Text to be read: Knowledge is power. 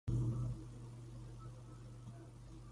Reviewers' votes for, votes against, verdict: 0, 2, rejected